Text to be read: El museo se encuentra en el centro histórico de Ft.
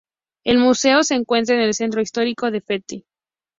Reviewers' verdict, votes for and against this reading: accepted, 2, 0